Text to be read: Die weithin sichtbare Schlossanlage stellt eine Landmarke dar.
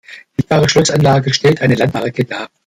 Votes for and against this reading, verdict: 0, 2, rejected